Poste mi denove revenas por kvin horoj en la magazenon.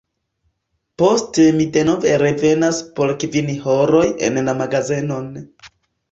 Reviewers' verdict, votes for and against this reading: accepted, 2, 1